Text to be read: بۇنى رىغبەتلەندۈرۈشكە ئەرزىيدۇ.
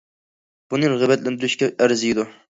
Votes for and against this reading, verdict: 2, 1, accepted